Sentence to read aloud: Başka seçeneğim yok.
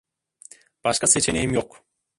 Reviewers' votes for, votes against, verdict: 1, 2, rejected